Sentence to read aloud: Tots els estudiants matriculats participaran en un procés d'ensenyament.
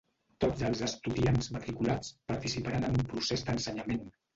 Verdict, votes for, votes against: rejected, 0, 2